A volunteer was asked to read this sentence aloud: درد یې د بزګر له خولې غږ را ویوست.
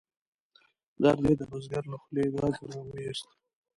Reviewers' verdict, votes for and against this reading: rejected, 1, 2